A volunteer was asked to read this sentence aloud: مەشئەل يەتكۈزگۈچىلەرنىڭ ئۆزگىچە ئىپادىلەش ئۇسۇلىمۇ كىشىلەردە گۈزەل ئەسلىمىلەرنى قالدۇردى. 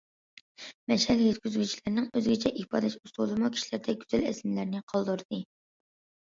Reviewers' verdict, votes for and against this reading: accepted, 2, 0